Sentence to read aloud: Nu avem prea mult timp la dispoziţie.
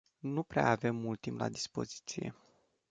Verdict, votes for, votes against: rejected, 1, 2